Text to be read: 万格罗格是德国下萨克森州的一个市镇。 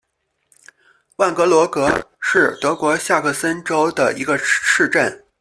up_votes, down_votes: 0, 2